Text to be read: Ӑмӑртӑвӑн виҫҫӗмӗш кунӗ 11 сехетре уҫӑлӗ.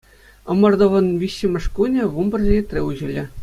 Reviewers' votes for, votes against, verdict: 0, 2, rejected